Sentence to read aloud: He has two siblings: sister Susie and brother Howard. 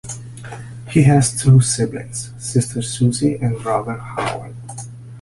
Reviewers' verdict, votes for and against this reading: accepted, 2, 0